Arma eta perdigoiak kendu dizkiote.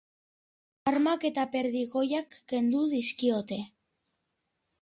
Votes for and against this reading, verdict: 1, 2, rejected